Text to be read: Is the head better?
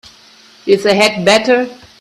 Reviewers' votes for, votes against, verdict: 1, 2, rejected